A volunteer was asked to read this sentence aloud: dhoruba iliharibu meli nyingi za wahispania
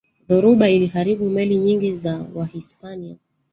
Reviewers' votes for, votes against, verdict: 0, 2, rejected